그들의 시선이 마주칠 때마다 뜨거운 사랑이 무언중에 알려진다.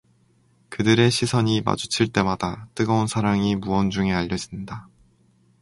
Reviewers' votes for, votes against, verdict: 4, 0, accepted